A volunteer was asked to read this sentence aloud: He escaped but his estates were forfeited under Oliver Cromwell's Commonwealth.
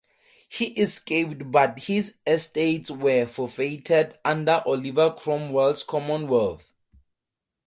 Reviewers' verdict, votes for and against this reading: accepted, 4, 0